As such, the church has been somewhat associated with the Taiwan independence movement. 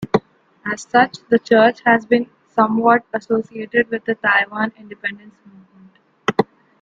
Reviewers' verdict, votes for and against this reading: rejected, 1, 2